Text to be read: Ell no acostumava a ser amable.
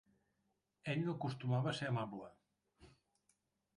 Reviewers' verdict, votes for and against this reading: accepted, 3, 0